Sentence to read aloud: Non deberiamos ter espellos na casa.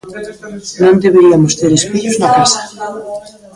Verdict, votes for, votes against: accepted, 2, 0